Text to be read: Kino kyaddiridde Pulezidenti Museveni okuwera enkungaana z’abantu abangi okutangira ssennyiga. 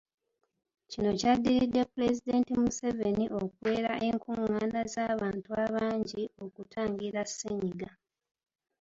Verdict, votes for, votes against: accepted, 2, 0